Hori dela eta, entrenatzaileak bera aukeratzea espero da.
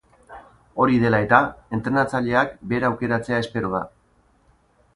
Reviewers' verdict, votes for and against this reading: accepted, 2, 0